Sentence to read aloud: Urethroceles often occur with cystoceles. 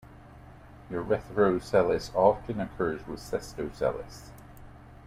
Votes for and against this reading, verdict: 1, 2, rejected